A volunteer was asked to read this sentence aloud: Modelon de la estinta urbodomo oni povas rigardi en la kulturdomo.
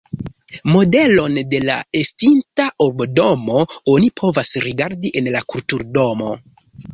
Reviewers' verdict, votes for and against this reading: rejected, 0, 2